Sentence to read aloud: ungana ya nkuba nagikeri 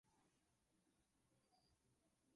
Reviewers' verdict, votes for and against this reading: rejected, 0, 2